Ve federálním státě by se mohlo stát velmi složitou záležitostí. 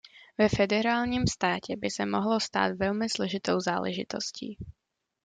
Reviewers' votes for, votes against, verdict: 2, 0, accepted